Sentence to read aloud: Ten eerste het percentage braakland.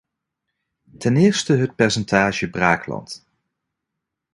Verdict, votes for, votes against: accepted, 2, 0